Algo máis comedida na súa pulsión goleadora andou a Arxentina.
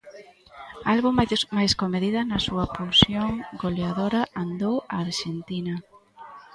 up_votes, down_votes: 0, 2